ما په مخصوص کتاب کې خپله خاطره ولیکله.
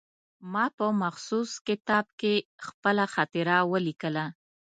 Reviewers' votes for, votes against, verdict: 2, 0, accepted